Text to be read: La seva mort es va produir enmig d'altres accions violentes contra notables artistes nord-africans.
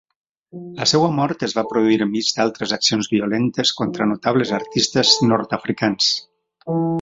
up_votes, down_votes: 0, 2